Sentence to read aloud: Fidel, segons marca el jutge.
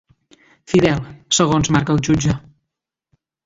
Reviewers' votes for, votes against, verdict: 2, 0, accepted